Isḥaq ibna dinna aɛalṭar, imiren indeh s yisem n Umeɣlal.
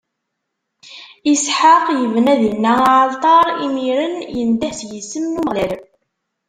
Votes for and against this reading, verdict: 1, 2, rejected